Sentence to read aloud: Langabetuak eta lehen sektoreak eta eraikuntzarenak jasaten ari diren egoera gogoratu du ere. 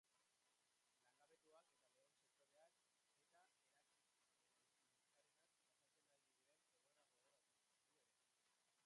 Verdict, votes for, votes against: rejected, 0, 2